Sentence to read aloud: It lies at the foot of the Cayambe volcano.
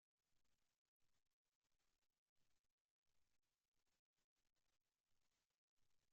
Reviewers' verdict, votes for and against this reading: rejected, 0, 2